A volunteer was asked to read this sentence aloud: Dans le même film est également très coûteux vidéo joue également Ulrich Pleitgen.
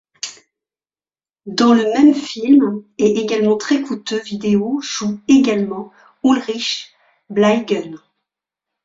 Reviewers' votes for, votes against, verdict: 1, 2, rejected